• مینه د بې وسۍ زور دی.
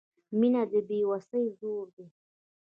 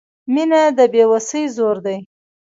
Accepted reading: first